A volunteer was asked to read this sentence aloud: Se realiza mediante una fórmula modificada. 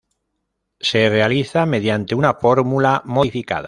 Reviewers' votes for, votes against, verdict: 0, 2, rejected